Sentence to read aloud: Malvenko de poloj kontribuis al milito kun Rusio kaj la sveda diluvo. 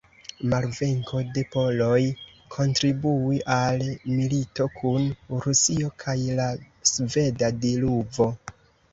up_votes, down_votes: 1, 2